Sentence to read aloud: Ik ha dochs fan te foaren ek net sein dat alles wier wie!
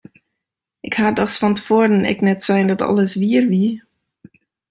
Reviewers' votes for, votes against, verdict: 2, 0, accepted